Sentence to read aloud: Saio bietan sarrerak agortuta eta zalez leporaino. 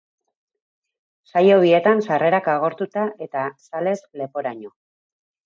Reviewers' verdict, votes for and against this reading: accepted, 2, 0